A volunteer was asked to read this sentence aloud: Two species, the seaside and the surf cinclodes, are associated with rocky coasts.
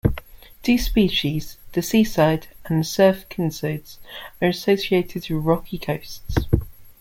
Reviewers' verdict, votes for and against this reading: rejected, 0, 2